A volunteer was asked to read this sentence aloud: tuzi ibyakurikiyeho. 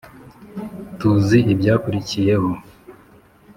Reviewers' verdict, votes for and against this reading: accepted, 2, 0